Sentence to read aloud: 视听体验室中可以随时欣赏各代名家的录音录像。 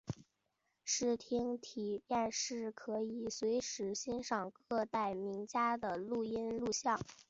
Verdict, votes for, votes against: accepted, 2, 1